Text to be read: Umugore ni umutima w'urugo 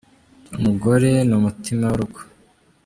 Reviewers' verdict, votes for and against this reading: rejected, 1, 2